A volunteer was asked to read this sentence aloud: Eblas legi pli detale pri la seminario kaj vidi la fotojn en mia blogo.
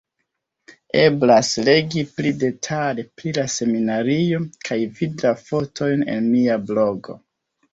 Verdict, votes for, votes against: rejected, 1, 2